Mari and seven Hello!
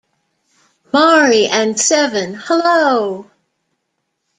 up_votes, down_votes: 2, 0